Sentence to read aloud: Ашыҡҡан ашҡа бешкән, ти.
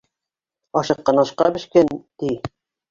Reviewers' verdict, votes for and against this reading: rejected, 1, 2